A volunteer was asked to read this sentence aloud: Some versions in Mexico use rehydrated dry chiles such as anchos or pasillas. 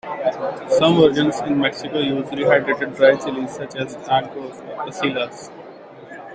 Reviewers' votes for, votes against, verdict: 2, 1, accepted